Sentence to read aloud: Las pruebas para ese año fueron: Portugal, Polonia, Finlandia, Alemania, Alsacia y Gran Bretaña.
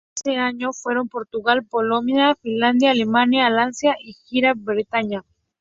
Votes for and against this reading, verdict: 0, 2, rejected